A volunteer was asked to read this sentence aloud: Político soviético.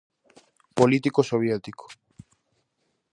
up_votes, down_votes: 4, 0